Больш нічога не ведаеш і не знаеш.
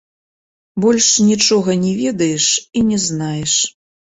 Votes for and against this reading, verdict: 1, 2, rejected